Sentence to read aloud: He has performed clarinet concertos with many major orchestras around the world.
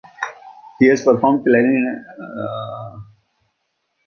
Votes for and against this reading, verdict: 1, 2, rejected